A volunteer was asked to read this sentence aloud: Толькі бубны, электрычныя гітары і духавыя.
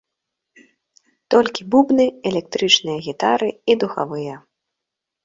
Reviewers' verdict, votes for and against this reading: accepted, 2, 0